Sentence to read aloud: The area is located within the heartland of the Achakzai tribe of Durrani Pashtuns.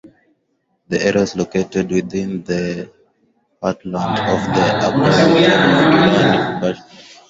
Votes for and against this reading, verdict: 0, 2, rejected